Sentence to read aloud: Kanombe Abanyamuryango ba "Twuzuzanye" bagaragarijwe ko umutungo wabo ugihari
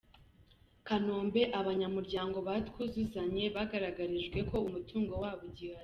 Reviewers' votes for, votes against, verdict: 2, 0, accepted